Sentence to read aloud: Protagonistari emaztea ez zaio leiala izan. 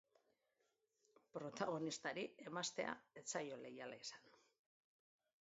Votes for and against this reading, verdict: 3, 0, accepted